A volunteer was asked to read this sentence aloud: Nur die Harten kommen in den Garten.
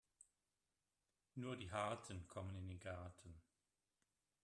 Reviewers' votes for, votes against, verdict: 3, 0, accepted